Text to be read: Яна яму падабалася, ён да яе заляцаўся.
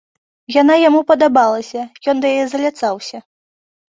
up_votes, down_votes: 2, 0